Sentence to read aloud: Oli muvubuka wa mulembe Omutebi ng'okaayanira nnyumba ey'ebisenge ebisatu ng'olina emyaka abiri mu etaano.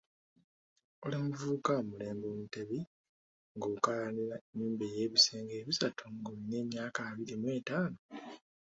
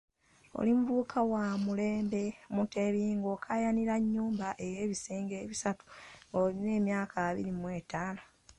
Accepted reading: first